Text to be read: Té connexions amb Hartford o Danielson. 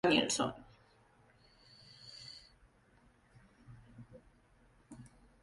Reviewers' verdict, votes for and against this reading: rejected, 0, 2